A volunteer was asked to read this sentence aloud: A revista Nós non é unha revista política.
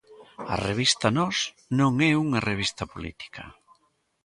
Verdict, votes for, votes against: accepted, 2, 0